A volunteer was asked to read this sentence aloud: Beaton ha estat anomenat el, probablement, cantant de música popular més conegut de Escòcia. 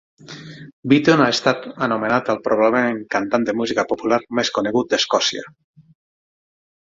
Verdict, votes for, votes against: accepted, 6, 0